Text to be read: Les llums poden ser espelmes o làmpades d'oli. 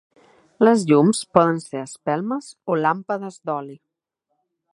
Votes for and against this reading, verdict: 3, 0, accepted